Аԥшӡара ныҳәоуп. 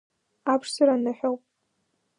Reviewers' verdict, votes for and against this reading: accepted, 2, 1